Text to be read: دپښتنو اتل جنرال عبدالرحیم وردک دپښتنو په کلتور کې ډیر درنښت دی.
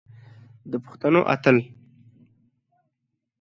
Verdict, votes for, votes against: rejected, 0, 2